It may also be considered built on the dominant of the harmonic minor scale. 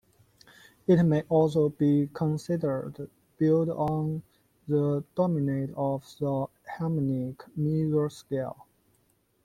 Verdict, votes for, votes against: accepted, 2, 0